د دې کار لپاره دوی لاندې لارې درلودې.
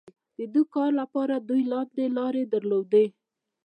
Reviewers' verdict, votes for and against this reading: accepted, 2, 1